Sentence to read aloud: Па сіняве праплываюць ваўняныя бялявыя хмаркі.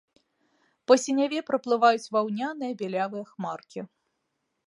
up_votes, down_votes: 2, 0